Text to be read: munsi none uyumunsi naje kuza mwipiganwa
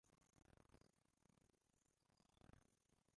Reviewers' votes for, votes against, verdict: 0, 2, rejected